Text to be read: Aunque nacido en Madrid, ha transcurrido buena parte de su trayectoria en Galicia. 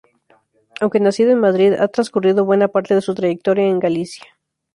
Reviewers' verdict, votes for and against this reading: accepted, 4, 0